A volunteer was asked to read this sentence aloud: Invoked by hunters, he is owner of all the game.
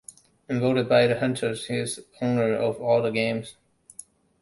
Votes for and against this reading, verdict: 0, 2, rejected